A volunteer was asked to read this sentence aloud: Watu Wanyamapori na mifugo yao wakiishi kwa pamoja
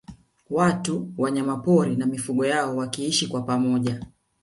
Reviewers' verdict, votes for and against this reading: accepted, 2, 0